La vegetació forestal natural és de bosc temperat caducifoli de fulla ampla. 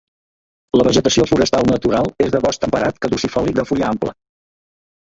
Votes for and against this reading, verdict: 0, 2, rejected